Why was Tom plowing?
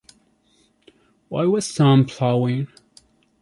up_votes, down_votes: 2, 1